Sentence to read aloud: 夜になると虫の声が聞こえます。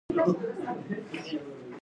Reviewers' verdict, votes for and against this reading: rejected, 0, 3